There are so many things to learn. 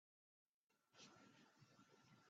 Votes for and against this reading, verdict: 0, 2, rejected